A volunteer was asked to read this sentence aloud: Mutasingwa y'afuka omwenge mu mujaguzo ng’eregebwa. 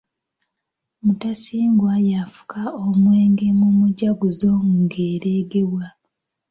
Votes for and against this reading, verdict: 2, 0, accepted